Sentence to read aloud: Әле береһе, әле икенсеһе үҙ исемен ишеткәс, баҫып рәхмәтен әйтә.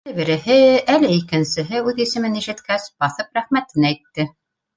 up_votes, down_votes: 1, 2